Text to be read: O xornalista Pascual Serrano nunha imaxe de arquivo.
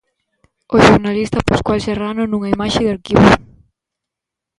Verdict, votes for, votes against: rejected, 1, 2